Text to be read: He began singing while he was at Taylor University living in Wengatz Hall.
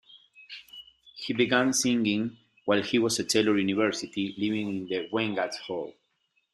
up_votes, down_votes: 1, 2